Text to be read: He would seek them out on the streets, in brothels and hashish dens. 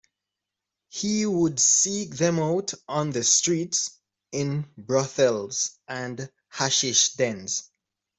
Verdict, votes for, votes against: accepted, 3, 0